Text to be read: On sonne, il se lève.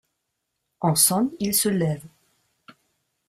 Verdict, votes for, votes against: accepted, 2, 0